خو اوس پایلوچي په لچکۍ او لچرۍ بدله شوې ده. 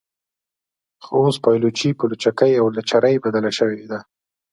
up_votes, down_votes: 2, 0